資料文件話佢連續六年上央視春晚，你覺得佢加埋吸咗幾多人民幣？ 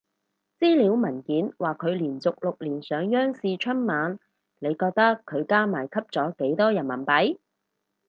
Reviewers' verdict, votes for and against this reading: accepted, 4, 0